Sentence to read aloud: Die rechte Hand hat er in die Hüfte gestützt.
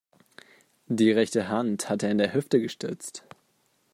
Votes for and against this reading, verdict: 1, 2, rejected